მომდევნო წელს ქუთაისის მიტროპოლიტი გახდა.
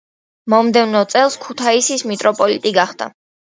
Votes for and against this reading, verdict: 2, 0, accepted